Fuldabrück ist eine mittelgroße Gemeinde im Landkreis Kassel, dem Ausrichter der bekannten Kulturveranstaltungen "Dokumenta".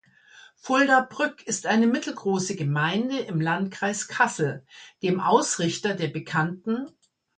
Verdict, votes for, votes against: rejected, 0, 2